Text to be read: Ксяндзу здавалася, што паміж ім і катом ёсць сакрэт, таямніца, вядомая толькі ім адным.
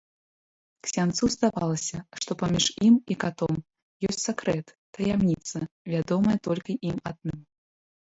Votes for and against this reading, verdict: 1, 2, rejected